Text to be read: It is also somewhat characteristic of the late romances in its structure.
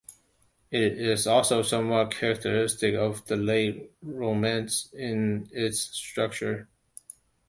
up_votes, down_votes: 1, 2